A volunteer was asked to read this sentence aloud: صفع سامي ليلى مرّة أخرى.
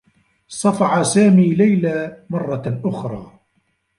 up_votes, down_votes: 1, 2